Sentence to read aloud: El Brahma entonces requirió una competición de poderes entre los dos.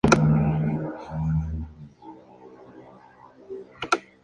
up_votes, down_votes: 0, 2